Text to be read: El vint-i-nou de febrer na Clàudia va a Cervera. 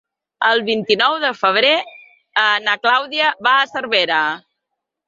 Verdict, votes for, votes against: rejected, 1, 2